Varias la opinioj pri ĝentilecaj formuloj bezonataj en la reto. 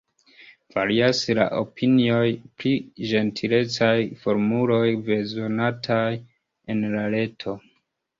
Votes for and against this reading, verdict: 2, 0, accepted